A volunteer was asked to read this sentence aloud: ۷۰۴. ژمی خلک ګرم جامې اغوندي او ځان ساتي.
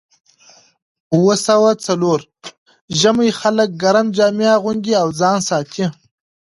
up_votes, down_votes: 0, 2